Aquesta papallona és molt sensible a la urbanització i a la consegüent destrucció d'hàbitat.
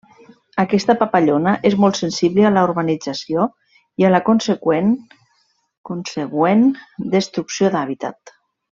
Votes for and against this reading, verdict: 0, 2, rejected